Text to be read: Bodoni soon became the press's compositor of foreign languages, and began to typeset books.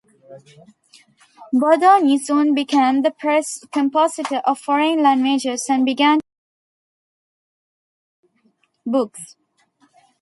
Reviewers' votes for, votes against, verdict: 0, 2, rejected